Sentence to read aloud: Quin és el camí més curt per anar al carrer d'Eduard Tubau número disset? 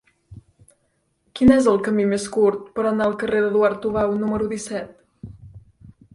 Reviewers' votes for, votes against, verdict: 2, 0, accepted